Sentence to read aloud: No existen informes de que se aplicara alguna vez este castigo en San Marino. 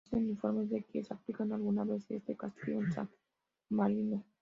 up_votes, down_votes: 2, 0